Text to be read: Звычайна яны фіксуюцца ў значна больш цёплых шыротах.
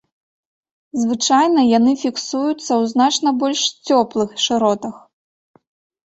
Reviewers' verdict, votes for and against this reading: accepted, 2, 0